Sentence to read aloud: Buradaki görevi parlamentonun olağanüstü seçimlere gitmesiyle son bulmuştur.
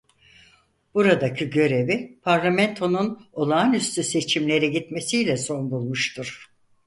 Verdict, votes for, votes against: accepted, 4, 0